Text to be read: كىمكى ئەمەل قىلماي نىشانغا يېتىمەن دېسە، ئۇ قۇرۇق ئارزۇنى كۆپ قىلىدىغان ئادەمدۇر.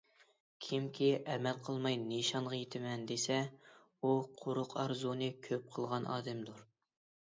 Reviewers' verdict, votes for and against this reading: accepted, 2, 1